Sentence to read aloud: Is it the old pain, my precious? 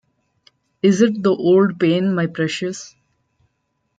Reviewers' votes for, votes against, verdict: 0, 2, rejected